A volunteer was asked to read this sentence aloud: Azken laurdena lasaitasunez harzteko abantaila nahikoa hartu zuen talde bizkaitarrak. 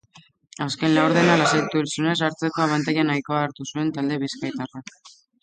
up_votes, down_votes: 0, 2